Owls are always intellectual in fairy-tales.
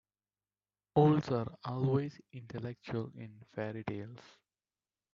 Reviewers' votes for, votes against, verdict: 1, 2, rejected